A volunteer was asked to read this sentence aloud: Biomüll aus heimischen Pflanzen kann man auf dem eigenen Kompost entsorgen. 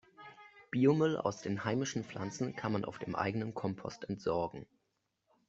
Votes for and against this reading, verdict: 1, 2, rejected